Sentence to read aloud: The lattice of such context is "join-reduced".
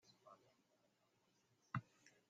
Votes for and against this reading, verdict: 0, 2, rejected